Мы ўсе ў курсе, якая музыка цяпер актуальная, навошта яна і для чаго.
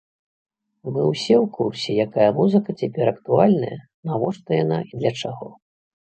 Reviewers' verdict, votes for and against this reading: accepted, 2, 0